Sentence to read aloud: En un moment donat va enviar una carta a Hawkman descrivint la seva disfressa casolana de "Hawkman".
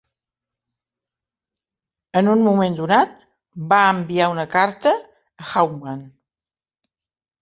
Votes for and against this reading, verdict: 0, 2, rejected